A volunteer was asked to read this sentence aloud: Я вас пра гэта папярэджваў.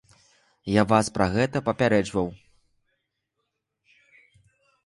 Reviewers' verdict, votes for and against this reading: accepted, 2, 0